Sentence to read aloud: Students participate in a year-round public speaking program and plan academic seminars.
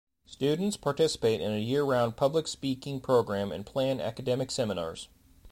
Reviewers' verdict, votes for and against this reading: accepted, 2, 0